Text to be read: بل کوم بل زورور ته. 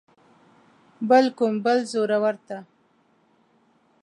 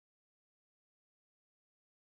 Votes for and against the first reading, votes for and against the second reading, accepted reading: 2, 0, 0, 2, first